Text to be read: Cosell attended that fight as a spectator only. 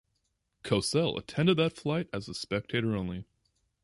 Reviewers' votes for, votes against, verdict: 0, 2, rejected